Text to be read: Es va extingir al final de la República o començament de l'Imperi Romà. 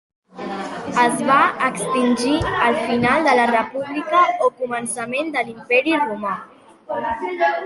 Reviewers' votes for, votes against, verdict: 2, 0, accepted